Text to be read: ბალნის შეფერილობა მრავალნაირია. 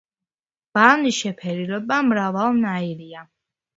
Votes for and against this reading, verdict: 2, 0, accepted